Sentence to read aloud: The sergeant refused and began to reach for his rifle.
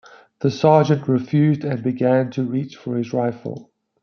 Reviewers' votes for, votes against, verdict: 2, 0, accepted